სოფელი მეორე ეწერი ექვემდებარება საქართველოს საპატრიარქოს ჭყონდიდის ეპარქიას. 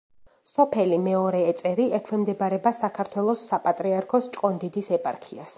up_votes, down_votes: 4, 0